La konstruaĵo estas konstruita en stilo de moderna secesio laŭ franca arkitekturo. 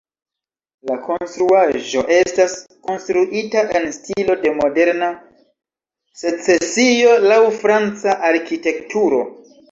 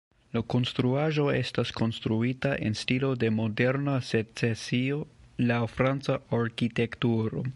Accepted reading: first